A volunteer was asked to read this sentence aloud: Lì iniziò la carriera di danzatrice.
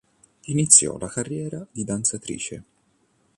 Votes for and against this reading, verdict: 1, 2, rejected